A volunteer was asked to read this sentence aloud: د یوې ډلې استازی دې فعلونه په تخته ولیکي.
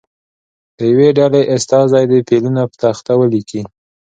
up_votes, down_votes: 2, 0